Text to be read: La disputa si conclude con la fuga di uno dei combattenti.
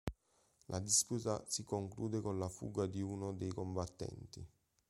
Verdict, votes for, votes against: accepted, 2, 0